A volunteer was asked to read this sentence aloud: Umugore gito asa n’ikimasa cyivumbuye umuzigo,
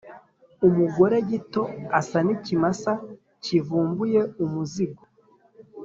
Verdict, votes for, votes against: accepted, 3, 0